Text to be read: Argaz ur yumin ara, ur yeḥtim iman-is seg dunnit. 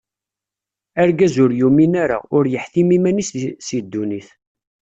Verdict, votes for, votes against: rejected, 1, 2